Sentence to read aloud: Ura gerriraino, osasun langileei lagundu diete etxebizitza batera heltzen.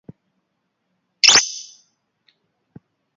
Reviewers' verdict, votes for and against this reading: rejected, 0, 2